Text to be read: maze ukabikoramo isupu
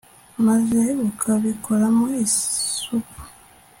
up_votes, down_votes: 2, 0